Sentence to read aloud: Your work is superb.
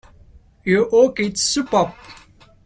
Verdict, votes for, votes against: rejected, 1, 2